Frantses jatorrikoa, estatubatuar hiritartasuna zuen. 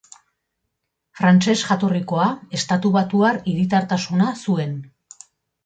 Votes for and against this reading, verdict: 2, 0, accepted